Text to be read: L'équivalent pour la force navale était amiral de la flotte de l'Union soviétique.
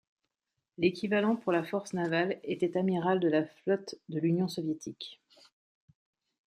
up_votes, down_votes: 2, 0